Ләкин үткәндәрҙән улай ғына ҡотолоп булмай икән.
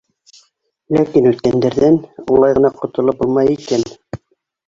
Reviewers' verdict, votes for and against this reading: rejected, 1, 2